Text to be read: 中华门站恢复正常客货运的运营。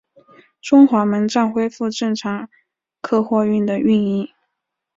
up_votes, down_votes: 2, 0